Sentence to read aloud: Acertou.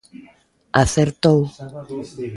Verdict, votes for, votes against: accepted, 2, 0